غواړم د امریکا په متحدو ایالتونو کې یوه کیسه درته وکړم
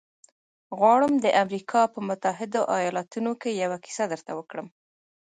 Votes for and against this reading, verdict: 0, 2, rejected